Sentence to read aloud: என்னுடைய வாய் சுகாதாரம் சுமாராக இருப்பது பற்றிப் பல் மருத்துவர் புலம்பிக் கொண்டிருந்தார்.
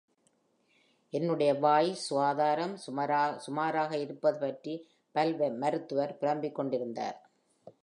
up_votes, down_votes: 0, 2